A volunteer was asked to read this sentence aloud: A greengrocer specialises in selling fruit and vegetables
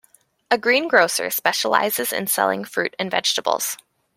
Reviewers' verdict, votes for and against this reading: accepted, 2, 0